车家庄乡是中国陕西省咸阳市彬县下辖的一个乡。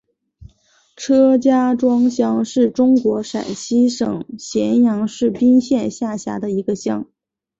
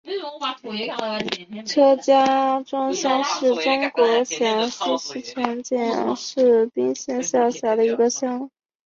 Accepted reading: first